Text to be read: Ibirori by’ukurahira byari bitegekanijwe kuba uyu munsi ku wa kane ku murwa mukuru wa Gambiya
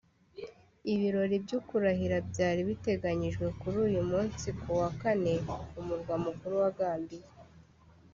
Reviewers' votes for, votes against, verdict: 1, 2, rejected